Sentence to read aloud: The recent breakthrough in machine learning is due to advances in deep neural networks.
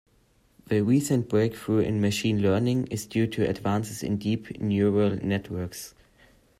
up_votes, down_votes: 2, 0